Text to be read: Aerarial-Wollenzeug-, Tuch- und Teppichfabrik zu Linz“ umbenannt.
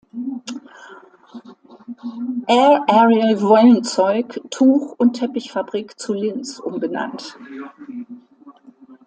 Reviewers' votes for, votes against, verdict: 2, 1, accepted